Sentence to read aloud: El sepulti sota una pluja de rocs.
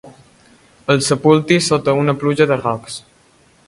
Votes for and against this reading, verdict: 2, 0, accepted